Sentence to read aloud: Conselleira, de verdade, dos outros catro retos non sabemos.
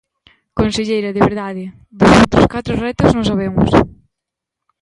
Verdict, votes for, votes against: accepted, 2, 1